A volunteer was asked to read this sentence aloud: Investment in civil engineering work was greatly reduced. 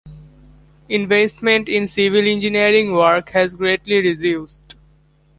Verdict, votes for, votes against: rejected, 1, 2